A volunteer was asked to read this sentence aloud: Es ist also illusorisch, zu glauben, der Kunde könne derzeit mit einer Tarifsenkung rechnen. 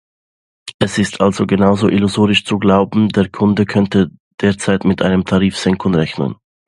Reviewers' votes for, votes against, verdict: 0, 2, rejected